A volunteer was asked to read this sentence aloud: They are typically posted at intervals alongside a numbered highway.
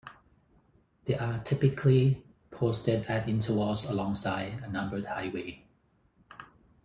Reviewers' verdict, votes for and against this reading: accepted, 4, 0